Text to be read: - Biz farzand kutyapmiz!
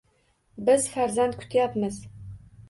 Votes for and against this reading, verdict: 2, 0, accepted